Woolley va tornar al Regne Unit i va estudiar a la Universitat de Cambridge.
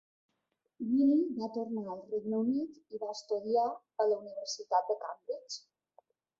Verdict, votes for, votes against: rejected, 0, 2